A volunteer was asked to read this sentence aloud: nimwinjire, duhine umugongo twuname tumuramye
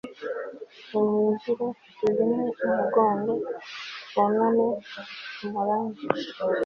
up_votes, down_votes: 0, 2